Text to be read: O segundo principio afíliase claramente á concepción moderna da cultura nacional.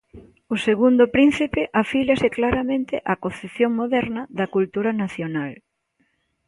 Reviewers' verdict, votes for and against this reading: rejected, 0, 2